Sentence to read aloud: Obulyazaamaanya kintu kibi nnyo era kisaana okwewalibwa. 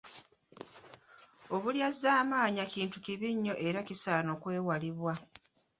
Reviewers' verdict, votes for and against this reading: rejected, 1, 2